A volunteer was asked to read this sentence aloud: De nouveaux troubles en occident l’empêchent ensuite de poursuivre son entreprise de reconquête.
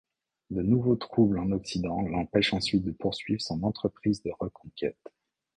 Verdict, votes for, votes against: accepted, 2, 0